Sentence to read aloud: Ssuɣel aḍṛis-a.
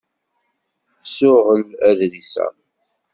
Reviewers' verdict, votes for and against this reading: rejected, 0, 2